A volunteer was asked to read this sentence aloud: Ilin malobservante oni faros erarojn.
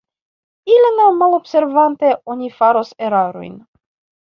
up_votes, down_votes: 1, 2